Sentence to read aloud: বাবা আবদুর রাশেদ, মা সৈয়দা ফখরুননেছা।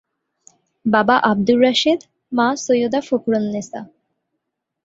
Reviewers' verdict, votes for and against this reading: accepted, 2, 0